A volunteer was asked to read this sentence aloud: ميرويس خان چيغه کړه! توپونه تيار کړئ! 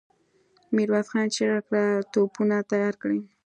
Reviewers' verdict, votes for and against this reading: accepted, 2, 1